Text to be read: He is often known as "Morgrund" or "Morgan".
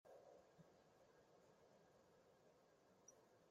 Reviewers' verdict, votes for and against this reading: rejected, 0, 2